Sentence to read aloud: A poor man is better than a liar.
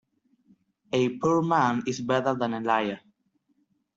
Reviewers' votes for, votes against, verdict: 2, 0, accepted